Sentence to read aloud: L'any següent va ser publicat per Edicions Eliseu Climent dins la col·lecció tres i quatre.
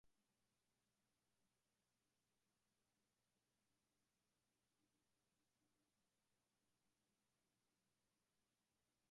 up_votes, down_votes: 1, 2